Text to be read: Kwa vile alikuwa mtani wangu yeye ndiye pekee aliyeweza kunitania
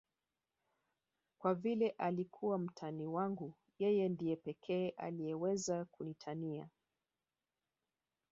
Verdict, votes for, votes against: rejected, 1, 2